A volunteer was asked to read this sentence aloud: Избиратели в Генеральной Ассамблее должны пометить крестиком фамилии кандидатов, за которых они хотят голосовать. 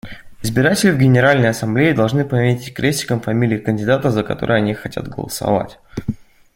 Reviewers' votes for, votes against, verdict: 0, 2, rejected